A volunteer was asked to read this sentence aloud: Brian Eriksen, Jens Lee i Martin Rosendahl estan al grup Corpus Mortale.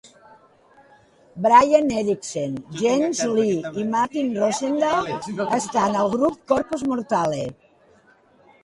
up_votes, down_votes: 2, 1